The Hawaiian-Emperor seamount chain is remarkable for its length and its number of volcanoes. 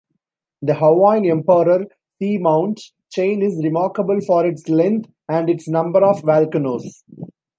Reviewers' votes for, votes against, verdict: 2, 1, accepted